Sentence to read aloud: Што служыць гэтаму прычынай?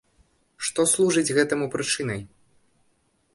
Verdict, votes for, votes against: accepted, 2, 0